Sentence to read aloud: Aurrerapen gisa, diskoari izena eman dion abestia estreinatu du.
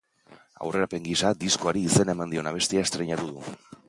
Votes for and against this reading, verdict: 2, 1, accepted